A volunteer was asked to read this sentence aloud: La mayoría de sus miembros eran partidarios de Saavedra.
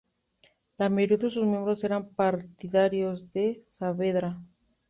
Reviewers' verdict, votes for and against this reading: rejected, 0, 2